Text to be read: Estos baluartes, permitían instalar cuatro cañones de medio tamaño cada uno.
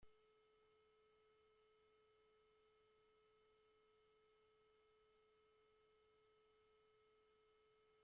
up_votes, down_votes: 0, 2